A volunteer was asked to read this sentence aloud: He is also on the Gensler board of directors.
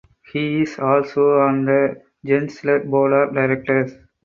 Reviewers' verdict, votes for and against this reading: accepted, 4, 0